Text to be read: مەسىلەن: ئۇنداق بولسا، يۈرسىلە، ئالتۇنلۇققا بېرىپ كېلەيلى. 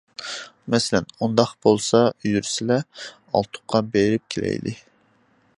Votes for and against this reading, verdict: 0, 2, rejected